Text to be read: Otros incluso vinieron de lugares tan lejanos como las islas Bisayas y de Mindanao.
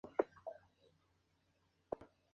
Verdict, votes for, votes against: rejected, 0, 2